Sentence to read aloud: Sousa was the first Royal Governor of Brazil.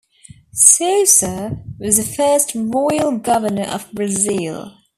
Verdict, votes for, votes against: accepted, 2, 0